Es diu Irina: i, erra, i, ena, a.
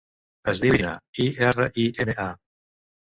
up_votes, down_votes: 1, 2